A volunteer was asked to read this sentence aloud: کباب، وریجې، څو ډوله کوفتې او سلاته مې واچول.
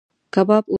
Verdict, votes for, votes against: rejected, 1, 3